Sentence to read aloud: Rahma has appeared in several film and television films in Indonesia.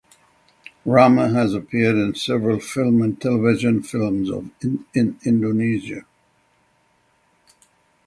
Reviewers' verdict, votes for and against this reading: rejected, 0, 3